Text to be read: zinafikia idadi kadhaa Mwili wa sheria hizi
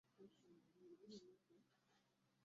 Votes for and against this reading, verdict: 0, 2, rejected